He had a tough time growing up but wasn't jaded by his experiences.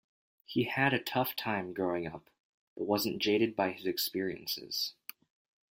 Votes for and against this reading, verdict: 2, 0, accepted